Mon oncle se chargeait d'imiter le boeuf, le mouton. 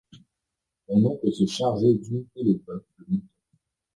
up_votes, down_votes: 1, 2